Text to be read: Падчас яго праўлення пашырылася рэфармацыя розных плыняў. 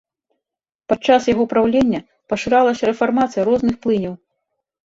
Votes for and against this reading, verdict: 2, 1, accepted